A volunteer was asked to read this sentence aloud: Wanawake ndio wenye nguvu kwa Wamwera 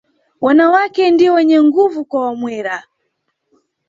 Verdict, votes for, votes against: accepted, 2, 0